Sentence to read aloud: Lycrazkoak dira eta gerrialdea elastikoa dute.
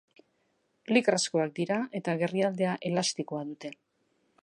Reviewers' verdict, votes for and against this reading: accepted, 2, 0